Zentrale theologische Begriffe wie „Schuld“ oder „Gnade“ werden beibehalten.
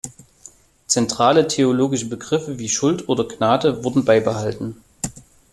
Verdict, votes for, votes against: accepted, 2, 0